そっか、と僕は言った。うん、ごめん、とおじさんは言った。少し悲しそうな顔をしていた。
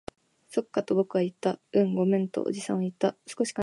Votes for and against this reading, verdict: 0, 2, rejected